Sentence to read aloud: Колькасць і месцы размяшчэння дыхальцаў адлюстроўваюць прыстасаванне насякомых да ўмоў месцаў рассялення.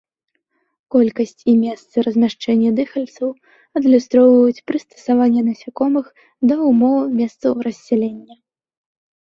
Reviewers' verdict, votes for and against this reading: accepted, 2, 1